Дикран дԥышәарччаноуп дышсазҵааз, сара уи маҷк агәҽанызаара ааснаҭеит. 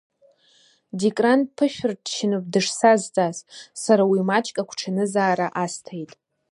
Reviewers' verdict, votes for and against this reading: rejected, 1, 2